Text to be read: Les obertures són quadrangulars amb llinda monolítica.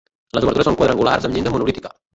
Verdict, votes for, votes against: rejected, 0, 2